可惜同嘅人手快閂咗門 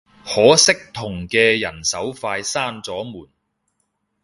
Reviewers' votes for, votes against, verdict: 2, 0, accepted